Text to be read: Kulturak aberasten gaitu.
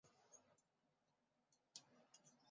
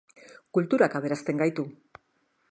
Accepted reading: second